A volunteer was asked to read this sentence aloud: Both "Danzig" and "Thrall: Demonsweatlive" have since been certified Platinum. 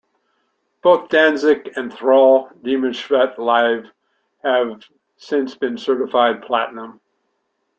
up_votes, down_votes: 0, 2